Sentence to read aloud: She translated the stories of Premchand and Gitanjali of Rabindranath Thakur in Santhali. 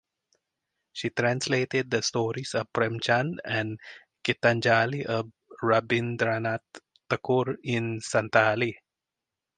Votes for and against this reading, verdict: 2, 2, rejected